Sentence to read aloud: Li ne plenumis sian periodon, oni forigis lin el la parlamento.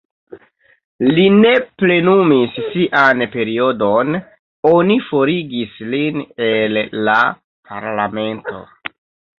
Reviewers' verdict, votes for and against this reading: rejected, 1, 2